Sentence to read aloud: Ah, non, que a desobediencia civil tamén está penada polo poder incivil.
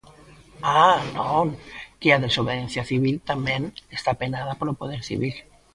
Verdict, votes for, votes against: rejected, 0, 2